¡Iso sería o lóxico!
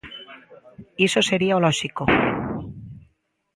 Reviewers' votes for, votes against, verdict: 2, 0, accepted